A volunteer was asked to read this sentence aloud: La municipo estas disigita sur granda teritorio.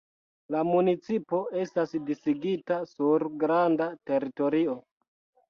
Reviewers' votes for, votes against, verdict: 2, 0, accepted